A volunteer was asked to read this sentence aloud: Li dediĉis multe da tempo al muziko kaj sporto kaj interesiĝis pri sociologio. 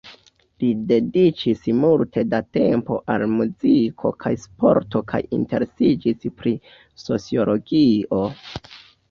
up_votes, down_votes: 0, 2